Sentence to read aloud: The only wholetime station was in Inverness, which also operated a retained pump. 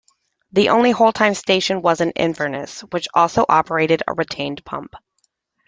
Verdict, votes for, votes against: accepted, 2, 0